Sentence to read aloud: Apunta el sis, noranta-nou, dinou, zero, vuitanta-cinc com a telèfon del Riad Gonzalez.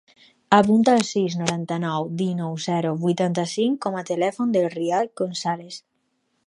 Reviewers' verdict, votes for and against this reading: accepted, 2, 0